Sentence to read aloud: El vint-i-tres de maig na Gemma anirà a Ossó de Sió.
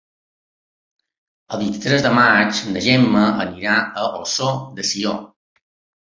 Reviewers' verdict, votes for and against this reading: accepted, 2, 0